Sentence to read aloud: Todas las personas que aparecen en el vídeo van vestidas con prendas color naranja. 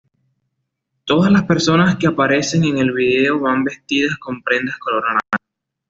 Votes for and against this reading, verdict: 2, 0, accepted